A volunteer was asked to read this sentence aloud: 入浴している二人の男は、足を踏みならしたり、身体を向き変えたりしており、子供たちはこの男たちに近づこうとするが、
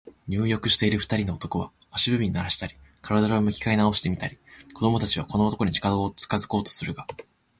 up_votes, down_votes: 0, 2